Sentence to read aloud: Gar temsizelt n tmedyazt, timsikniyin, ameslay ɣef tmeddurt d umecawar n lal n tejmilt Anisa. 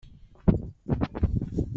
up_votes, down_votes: 1, 2